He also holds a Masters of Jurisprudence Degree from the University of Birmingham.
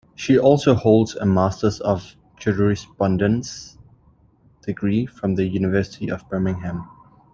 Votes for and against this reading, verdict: 0, 2, rejected